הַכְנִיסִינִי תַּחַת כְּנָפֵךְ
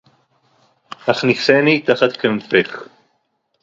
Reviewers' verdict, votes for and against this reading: accepted, 2, 0